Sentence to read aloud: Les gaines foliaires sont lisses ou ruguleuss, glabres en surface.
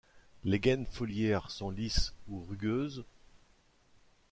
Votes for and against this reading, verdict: 0, 2, rejected